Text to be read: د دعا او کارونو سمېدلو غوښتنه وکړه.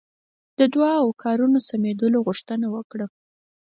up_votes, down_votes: 4, 0